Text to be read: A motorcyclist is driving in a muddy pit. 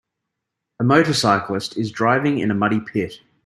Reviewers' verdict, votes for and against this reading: accepted, 2, 0